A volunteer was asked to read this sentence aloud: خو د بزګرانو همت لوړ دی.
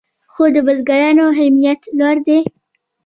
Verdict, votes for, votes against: accepted, 2, 1